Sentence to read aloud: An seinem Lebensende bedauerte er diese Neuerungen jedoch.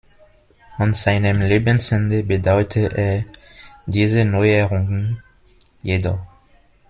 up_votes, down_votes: 1, 2